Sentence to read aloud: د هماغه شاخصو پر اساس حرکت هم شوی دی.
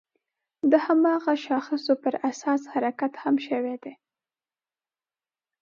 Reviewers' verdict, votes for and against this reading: accepted, 2, 0